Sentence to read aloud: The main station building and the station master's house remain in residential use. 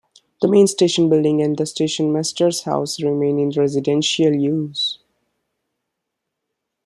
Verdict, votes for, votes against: accepted, 2, 0